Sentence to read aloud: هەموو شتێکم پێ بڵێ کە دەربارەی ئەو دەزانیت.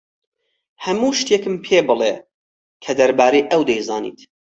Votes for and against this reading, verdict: 2, 4, rejected